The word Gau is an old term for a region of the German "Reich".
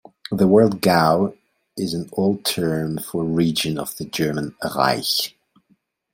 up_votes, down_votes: 2, 0